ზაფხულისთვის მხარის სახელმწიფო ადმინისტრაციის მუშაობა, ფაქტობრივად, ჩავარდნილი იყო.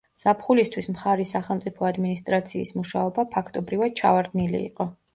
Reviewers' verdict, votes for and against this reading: accepted, 2, 0